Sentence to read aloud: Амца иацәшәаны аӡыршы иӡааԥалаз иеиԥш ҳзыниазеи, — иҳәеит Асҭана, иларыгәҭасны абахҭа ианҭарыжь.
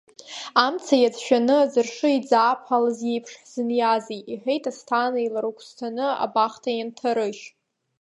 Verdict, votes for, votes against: rejected, 1, 2